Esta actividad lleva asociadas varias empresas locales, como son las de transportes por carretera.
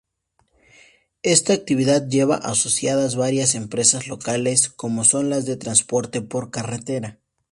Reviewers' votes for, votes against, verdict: 0, 2, rejected